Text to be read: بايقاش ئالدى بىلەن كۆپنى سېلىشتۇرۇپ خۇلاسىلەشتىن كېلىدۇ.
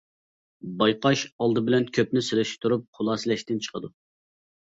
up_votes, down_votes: 1, 2